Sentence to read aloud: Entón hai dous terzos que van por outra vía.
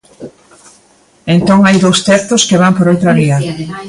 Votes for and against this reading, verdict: 0, 2, rejected